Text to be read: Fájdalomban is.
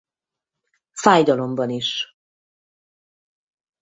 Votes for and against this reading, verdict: 4, 0, accepted